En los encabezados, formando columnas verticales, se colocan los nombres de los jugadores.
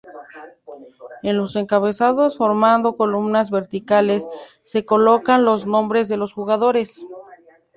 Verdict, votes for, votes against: accepted, 2, 0